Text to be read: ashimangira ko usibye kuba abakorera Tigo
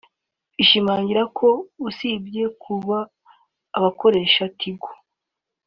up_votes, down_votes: 1, 3